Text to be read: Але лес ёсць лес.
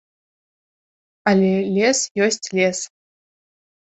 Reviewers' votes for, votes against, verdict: 2, 0, accepted